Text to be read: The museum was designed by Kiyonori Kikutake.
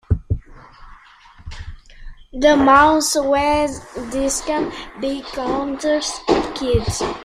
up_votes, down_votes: 0, 2